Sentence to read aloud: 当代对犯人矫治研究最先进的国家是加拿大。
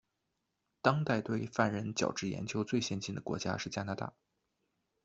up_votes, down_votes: 2, 0